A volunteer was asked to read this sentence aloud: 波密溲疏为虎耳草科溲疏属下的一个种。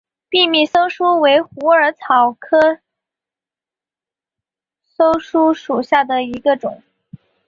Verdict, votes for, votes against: accepted, 2, 0